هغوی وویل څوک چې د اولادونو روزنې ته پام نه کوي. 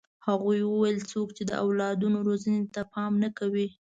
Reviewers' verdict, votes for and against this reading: accepted, 2, 0